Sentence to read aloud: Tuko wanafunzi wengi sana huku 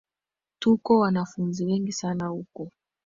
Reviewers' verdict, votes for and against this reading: accepted, 2, 0